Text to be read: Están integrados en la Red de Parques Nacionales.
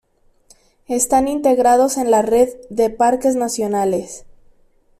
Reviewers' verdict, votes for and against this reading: accepted, 2, 0